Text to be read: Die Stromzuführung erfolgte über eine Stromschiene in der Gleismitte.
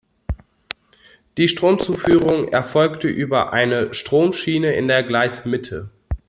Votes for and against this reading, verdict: 0, 2, rejected